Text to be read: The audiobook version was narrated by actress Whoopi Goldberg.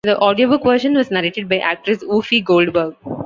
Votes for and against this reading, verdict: 1, 2, rejected